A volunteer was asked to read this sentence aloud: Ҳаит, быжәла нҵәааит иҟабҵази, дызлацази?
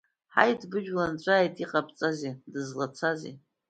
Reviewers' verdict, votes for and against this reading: accepted, 2, 1